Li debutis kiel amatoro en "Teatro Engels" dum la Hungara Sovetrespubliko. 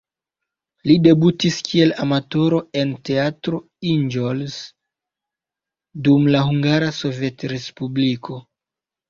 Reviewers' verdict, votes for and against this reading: rejected, 1, 2